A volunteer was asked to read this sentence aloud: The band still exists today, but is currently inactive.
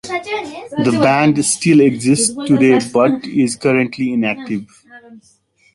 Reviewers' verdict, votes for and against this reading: rejected, 0, 2